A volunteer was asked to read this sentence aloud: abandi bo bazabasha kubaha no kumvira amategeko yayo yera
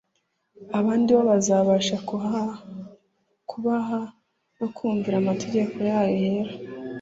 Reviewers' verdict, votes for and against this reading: rejected, 1, 2